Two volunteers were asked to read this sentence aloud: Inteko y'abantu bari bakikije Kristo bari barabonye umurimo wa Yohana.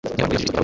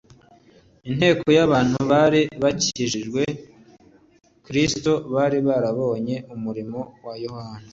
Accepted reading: second